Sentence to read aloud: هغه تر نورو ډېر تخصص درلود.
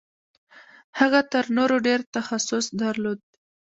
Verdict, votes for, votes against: rejected, 1, 2